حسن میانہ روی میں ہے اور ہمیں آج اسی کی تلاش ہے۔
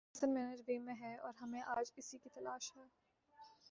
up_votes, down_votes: 1, 2